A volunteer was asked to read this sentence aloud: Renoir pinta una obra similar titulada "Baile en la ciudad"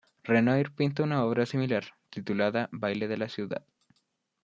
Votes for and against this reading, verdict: 2, 0, accepted